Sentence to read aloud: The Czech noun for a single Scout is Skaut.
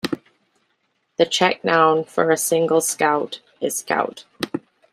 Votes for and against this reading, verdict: 1, 2, rejected